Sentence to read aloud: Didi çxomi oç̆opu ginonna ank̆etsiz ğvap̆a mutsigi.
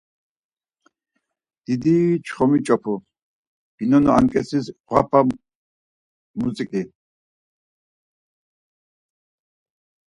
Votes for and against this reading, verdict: 2, 4, rejected